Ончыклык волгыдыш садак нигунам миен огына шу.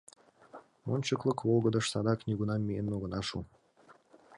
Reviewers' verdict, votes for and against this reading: accepted, 2, 1